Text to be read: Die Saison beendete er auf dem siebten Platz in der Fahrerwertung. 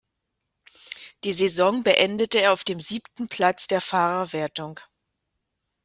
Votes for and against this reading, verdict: 0, 2, rejected